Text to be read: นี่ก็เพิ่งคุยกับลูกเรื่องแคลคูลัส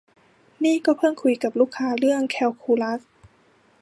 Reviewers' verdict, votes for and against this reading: rejected, 1, 2